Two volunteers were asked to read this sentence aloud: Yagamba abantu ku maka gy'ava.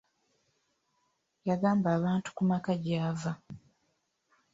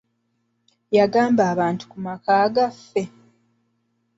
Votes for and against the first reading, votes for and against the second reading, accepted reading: 2, 0, 0, 2, first